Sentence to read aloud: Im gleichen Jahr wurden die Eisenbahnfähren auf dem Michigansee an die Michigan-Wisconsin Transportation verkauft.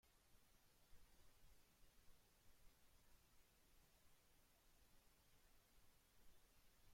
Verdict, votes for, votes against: rejected, 0, 2